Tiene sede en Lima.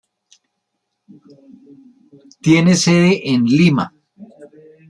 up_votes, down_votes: 0, 2